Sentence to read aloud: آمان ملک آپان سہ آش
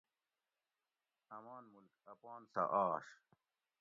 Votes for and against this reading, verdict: 2, 0, accepted